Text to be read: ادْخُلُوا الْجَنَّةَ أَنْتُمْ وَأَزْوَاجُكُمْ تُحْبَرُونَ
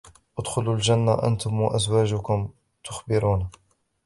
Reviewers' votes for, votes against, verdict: 0, 2, rejected